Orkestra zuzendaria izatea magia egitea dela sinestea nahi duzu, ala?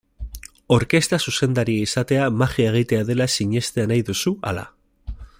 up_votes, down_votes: 0, 2